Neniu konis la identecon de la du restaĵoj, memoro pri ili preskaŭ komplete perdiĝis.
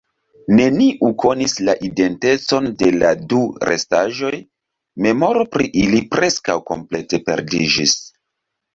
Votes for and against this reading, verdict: 2, 0, accepted